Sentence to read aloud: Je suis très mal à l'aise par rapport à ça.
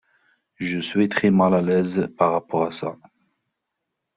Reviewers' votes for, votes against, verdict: 2, 0, accepted